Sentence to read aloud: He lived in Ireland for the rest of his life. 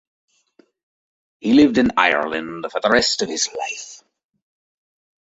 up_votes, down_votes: 1, 2